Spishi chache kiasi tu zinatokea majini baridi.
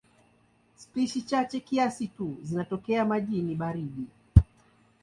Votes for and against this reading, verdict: 2, 0, accepted